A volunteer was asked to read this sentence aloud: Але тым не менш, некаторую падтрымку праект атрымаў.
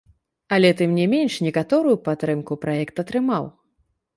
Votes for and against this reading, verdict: 1, 2, rejected